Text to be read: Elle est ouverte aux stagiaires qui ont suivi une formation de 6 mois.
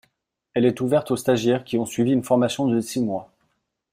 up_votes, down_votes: 0, 2